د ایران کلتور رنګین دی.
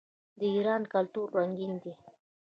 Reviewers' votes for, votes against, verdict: 1, 2, rejected